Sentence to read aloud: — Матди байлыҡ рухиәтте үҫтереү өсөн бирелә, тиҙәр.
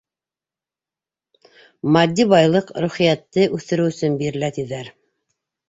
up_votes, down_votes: 2, 0